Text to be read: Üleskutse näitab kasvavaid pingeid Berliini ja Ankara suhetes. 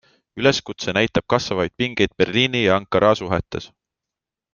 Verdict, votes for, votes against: accepted, 2, 0